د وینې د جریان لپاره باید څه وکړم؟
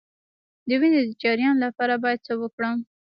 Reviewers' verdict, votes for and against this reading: rejected, 0, 3